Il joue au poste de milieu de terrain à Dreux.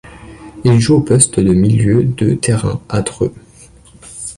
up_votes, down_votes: 2, 0